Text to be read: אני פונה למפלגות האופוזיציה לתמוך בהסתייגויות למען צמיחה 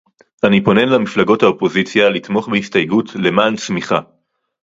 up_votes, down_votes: 2, 2